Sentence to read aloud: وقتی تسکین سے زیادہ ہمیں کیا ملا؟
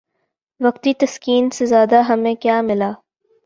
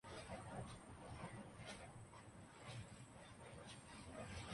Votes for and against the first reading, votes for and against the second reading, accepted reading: 8, 0, 0, 2, first